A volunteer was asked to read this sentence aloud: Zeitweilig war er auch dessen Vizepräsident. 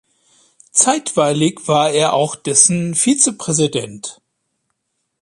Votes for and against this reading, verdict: 2, 0, accepted